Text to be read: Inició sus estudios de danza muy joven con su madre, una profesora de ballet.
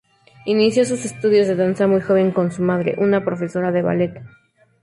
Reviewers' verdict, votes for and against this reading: accepted, 2, 0